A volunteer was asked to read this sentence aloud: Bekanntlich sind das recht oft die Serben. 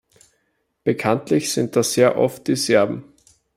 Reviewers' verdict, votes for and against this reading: rejected, 1, 2